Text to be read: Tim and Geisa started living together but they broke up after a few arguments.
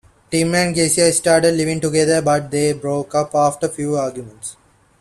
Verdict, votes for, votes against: accepted, 2, 0